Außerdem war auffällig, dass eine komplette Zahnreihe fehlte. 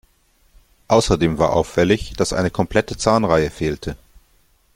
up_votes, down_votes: 2, 0